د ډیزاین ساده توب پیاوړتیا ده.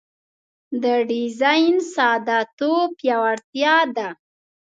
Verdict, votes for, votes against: accepted, 2, 0